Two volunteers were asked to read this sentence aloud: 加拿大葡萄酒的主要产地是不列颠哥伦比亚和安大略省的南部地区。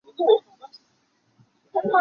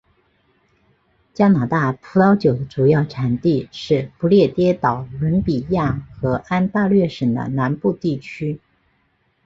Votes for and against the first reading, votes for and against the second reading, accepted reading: 1, 2, 2, 0, second